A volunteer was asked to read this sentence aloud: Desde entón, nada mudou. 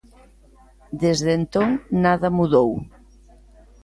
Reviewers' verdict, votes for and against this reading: accepted, 2, 0